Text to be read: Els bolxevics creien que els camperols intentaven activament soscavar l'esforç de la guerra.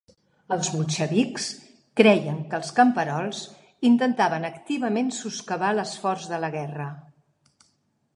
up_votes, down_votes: 2, 0